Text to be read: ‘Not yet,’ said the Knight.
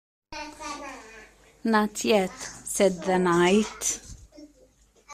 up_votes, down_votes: 0, 2